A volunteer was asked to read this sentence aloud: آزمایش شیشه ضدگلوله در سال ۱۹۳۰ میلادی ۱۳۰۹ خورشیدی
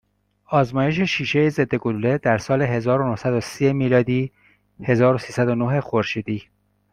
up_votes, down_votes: 0, 2